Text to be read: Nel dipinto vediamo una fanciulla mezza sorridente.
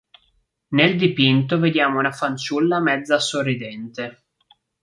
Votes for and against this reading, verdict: 3, 0, accepted